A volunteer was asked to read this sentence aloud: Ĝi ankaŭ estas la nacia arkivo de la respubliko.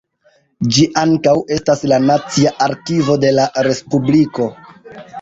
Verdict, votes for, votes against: rejected, 1, 2